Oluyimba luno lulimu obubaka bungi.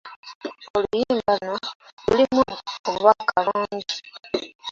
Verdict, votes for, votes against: rejected, 1, 2